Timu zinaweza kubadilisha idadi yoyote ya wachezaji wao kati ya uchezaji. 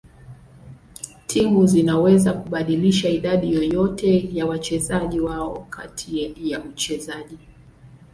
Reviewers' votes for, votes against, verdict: 2, 1, accepted